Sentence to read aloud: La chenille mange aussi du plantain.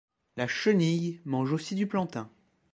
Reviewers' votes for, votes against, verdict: 2, 0, accepted